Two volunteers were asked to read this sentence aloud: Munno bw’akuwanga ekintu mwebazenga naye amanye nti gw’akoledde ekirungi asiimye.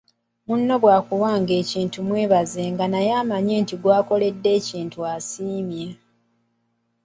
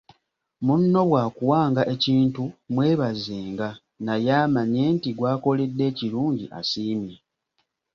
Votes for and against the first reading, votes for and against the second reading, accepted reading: 0, 2, 2, 0, second